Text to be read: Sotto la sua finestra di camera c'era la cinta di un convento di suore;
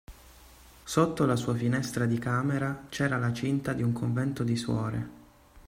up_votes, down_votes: 2, 0